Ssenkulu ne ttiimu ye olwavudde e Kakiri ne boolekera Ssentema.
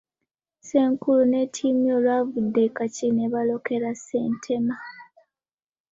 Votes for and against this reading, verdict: 2, 1, accepted